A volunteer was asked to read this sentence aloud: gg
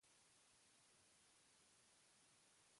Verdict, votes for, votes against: rejected, 0, 2